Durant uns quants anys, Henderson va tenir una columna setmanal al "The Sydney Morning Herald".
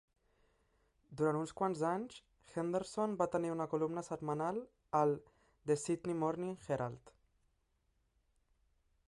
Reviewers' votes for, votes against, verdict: 6, 0, accepted